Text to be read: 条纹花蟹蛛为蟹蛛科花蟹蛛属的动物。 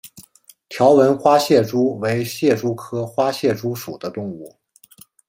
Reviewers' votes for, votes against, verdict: 2, 0, accepted